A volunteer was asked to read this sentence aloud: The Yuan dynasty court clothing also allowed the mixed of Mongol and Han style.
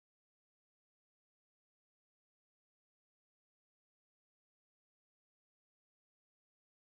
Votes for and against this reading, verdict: 0, 6, rejected